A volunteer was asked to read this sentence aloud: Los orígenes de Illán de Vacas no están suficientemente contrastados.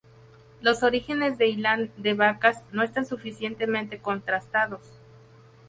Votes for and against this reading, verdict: 0, 2, rejected